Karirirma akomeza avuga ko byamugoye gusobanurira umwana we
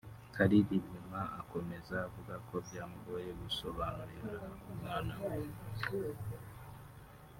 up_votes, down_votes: 0, 2